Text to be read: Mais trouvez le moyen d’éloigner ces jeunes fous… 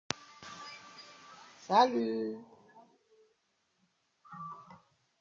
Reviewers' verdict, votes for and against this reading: rejected, 0, 2